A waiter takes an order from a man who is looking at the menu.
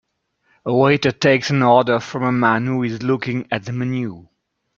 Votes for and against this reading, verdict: 1, 2, rejected